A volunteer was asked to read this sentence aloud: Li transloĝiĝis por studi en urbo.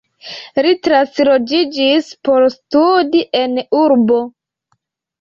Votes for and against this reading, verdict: 2, 0, accepted